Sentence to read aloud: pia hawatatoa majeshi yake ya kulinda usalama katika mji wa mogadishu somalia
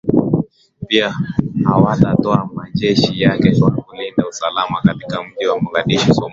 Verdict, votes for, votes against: rejected, 4, 5